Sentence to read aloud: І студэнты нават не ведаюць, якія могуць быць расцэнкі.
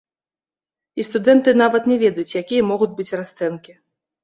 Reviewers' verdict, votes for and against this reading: rejected, 0, 2